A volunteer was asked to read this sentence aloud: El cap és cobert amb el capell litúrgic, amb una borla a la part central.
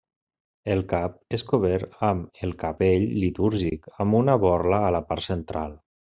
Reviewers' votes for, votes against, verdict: 3, 0, accepted